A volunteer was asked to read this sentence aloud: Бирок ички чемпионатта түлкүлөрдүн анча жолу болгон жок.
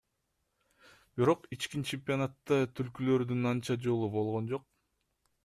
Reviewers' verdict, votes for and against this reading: rejected, 0, 2